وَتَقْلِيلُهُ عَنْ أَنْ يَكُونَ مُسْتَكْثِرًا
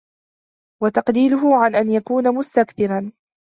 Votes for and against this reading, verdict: 2, 1, accepted